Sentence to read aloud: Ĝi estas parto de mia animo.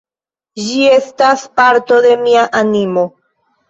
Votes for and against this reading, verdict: 0, 2, rejected